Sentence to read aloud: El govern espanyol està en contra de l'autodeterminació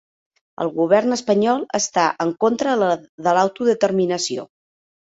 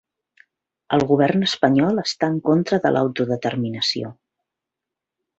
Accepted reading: second